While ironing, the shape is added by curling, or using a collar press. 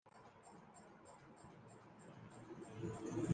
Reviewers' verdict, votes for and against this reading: rejected, 0, 2